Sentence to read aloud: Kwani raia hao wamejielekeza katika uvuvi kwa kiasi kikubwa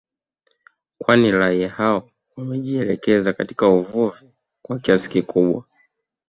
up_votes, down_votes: 2, 0